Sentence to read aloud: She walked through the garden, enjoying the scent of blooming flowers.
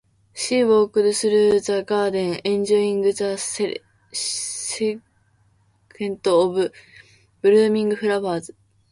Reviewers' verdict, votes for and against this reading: rejected, 1, 2